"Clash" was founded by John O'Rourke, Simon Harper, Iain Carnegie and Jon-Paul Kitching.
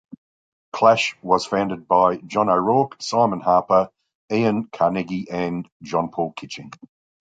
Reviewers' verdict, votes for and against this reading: accepted, 2, 0